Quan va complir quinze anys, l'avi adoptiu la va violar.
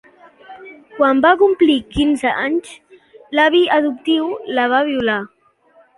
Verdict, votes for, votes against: accepted, 2, 0